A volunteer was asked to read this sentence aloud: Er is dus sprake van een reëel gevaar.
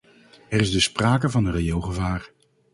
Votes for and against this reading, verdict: 2, 2, rejected